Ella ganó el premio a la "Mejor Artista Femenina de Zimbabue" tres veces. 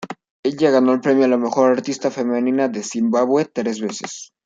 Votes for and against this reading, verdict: 0, 2, rejected